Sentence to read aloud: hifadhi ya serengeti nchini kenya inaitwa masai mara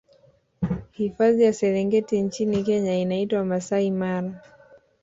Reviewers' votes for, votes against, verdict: 2, 0, accepted